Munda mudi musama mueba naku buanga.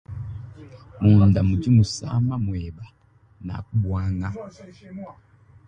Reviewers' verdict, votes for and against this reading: rejected, 1, 2